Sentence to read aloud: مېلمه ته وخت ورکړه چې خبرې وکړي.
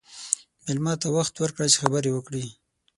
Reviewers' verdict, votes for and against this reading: accepted, 6, 0